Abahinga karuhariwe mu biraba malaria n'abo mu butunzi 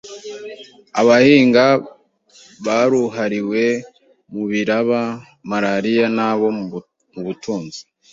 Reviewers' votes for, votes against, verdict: 0, 2, rejected